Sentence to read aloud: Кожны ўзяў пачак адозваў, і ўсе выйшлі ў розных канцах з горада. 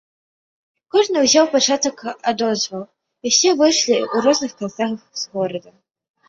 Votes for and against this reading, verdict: 2, 0, accepted